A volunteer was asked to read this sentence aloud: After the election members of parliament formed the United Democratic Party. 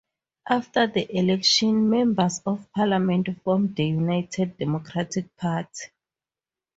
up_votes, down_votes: 4, 0